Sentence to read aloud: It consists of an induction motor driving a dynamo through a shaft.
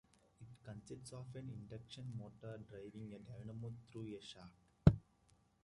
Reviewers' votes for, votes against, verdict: 0, 2, rejected